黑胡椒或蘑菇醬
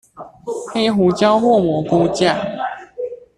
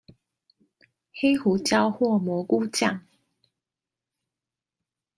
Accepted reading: second